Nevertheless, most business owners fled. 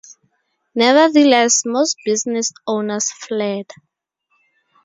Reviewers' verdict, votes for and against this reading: rejected, 0, 2